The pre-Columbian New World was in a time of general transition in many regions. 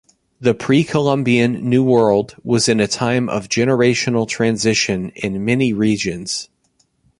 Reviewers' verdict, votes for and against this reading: rejected, 0, 2